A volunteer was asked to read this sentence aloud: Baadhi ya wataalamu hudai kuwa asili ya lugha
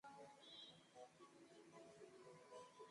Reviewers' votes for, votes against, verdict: 0, 2, rejected